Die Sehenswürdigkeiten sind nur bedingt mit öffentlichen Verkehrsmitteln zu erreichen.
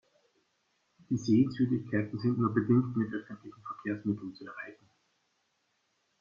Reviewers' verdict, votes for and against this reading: rejected, 1, 2